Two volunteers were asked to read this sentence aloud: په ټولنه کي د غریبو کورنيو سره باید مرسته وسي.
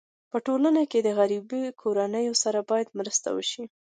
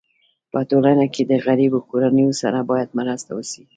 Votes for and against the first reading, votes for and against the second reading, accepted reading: 2, 0, 0, 2, first